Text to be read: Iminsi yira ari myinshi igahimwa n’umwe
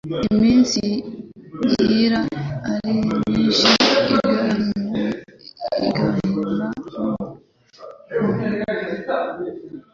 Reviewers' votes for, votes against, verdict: 0, 2, rejected